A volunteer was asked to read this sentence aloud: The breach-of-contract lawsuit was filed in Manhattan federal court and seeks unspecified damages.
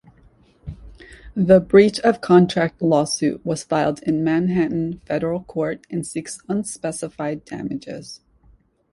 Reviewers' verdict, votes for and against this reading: accepted, 2, 0